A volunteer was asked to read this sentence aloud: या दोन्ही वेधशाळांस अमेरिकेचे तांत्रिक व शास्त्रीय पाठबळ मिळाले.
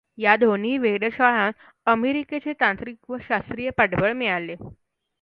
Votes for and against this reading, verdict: 0, 2, rejected